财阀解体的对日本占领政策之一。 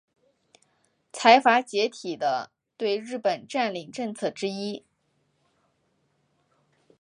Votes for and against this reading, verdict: 4, 1, accepted